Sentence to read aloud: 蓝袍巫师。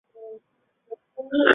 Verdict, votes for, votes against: accepted, 4, 3